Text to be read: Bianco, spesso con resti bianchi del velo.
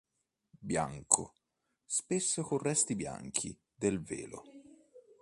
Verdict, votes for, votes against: accepted, 2, 0